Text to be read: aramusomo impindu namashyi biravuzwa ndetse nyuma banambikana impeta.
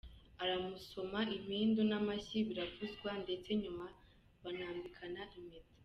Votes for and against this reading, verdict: 2, 0, accepted